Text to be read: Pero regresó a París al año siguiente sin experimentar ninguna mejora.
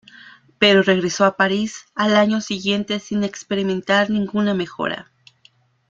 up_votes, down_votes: 0, 2